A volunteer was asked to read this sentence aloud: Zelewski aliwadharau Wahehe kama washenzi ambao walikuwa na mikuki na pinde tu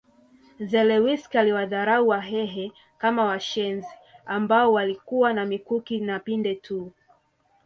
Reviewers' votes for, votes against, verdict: 2, 0, accepted